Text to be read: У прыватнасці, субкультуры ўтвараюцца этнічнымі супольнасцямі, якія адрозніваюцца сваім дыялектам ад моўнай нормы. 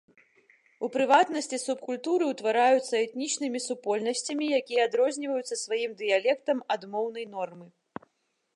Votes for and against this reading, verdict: 1, 2, rejected